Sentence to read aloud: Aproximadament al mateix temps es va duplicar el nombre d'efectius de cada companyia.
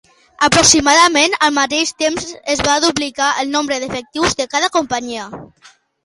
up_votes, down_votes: 2, 1